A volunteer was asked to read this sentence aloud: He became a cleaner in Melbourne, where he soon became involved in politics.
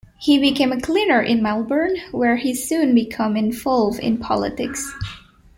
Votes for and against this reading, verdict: 0, 2, rejected